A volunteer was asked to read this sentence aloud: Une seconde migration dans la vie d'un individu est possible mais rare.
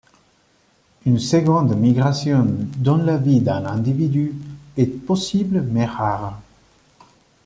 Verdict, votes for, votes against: accepted, 2, 0